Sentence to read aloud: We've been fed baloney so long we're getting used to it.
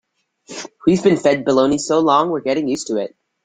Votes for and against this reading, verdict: 2, 1, accepted